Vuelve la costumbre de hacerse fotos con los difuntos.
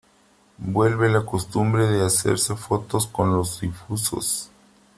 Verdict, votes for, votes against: rejected, 1, 2